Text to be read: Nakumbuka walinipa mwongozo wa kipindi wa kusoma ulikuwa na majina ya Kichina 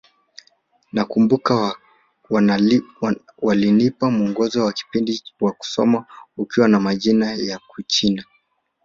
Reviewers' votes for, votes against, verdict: 2, 3, rejected